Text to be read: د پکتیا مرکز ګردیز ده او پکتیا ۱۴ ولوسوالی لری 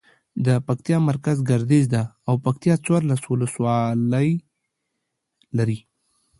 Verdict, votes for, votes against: rejected, 0, 2